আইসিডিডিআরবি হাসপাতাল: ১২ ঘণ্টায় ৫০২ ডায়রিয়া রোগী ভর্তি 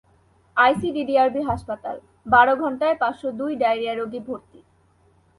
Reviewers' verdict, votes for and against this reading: rejected, 0, 2